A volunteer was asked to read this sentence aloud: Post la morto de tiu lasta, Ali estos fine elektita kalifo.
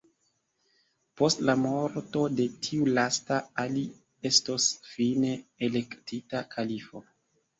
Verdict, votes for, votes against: accepted, 2, 0